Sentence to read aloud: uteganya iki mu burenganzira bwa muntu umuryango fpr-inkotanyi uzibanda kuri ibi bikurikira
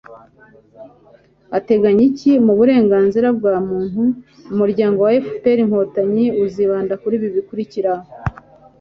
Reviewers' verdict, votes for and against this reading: rejected, 1, 2